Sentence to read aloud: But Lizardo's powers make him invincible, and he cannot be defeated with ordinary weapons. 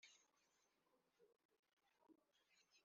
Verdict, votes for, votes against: rejected, 0, 2